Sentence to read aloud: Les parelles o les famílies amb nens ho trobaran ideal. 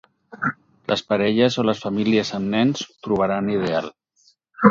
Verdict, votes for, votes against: rejected, 2, 4